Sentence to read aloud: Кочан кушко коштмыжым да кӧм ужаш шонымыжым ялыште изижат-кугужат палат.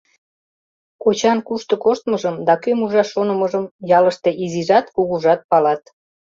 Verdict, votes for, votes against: rejected, 1, 2